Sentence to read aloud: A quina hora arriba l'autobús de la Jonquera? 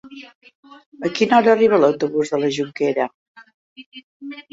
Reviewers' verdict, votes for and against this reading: rejected, 3, 4